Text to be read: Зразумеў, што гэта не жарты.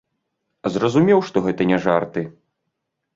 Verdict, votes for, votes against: accepted, 2, 0